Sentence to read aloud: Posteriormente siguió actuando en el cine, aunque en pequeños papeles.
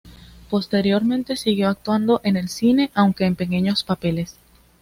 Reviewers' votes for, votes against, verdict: 2, 0, accepted